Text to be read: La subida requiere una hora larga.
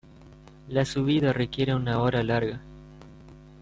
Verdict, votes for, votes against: accepted, 2, 0